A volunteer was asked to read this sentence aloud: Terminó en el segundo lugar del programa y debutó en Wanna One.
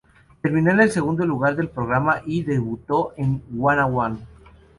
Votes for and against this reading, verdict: 4, 0, accepted